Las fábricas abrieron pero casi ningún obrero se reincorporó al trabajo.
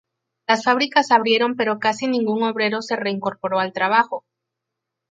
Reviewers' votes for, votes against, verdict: 4, 0, accepted